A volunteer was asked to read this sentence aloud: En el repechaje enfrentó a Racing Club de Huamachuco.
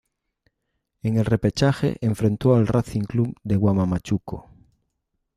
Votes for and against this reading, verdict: 1, 2, rejected